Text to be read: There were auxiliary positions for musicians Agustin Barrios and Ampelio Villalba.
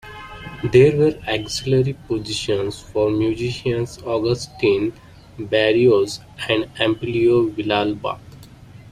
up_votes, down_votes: 1, 2